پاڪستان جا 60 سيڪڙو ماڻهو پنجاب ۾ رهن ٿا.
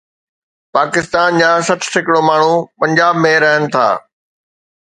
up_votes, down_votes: 0, 2